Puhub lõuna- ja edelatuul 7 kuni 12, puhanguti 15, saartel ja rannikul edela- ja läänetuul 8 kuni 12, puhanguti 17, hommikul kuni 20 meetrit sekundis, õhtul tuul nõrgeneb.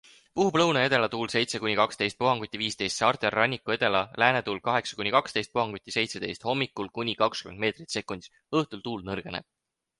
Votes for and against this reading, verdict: 0, 2, rejected